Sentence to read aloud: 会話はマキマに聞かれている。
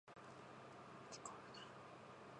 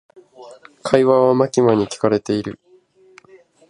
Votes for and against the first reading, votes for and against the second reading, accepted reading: 1, 2, 2, 0, second